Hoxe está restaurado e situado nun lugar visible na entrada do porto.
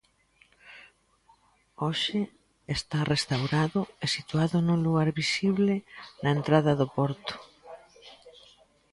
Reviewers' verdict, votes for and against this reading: rejected, 0, 2